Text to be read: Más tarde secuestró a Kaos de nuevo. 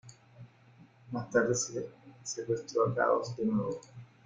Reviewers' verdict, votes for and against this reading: rejected, 0, 2